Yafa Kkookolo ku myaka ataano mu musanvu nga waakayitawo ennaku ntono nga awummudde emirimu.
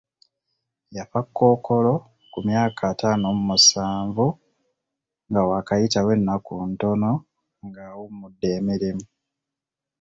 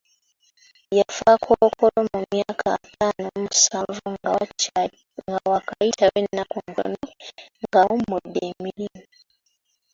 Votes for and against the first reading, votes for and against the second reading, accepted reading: 2, 0, 0, 2, first